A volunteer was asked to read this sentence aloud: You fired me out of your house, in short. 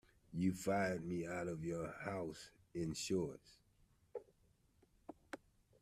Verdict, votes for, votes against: rejected, 0, 2